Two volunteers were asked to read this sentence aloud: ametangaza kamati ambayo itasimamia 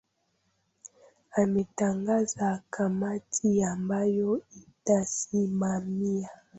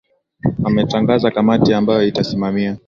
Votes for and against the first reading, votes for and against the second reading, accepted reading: 0, 2, 11, 1, second